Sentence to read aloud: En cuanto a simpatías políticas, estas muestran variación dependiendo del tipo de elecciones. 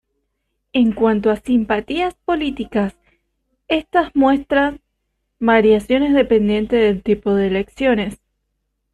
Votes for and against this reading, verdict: 0, 2, rejected